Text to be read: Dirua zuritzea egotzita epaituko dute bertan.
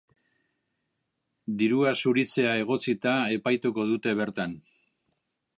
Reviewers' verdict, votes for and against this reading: accepted, 2, 0